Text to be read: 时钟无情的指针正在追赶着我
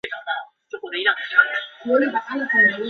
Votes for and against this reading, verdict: 0, 2, rejected